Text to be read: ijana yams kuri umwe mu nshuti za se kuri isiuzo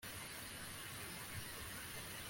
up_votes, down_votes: 0, 2